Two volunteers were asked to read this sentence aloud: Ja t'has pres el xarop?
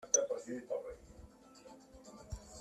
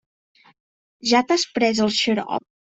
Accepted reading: second